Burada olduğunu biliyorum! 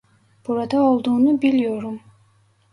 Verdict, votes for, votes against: accepted, 2, 0